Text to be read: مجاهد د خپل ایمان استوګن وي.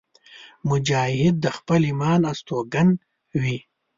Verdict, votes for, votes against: rejected, 1, 2